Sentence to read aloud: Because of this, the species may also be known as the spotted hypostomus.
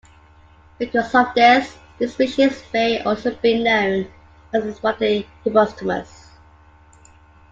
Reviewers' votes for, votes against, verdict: 0, 2, rejected